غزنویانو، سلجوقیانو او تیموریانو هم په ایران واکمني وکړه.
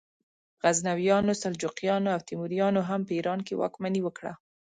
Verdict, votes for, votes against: accepted, 2, 0